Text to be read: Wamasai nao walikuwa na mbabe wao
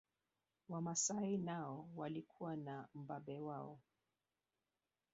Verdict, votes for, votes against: rejected, 1, 2